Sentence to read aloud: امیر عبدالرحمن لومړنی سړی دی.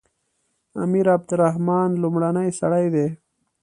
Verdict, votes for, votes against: accepted, 2, 0